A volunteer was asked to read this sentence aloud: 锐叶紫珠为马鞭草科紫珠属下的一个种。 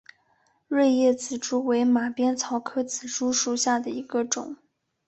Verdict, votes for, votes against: accepted, 2, 0